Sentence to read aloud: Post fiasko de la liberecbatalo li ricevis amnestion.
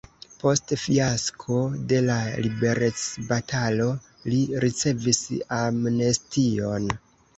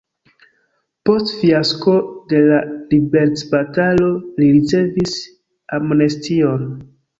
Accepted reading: first